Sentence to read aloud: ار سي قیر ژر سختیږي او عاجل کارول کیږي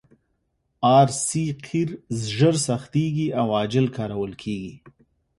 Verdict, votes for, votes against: accepted, 3, 0